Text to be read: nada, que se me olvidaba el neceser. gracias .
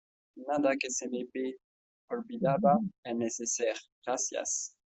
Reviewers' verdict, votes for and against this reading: accepted, 2, 0